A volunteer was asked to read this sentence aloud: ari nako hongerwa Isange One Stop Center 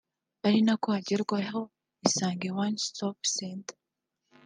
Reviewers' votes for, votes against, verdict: 3, 0, accepted